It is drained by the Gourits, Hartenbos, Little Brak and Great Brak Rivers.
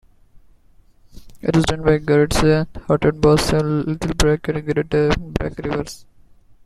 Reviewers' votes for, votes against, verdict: 1, 2, rejected